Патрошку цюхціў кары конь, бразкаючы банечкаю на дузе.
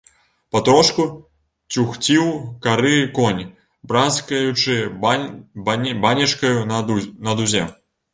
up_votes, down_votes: 0, 3